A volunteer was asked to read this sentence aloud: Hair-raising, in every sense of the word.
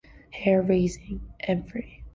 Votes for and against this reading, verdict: 2, 1, accepted